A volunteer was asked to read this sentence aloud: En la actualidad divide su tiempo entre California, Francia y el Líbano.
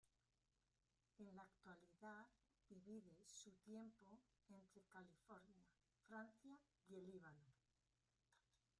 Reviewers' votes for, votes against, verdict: 0, 2, rejected